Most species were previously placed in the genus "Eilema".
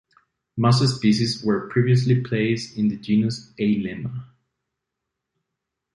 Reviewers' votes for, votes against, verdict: 0, 2, rejected